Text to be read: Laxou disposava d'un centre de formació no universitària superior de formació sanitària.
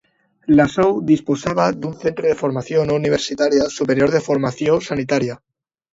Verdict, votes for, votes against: rejected, 0, 2